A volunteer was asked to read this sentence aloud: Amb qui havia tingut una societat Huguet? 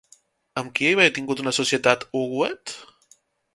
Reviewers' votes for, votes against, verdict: 1, 2, rejected